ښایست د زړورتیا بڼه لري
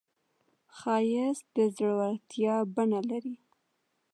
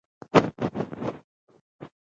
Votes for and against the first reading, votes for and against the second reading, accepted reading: 2, 0, 1, 2, first